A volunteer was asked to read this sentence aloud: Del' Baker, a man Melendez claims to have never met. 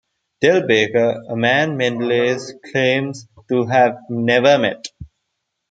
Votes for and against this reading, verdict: 2, 0, accepted